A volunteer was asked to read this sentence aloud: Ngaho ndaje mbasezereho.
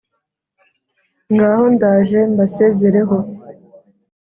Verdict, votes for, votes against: accepted, 2, 0